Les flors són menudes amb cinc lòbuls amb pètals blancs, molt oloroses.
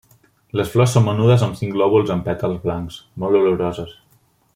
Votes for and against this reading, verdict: 2, 0, accepted